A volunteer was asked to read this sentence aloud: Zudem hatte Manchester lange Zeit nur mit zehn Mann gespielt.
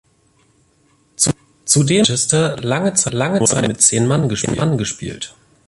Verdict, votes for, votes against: rejected, 0, 2